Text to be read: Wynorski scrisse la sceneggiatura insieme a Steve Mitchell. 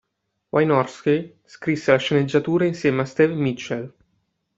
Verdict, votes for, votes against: rejected, 1, 2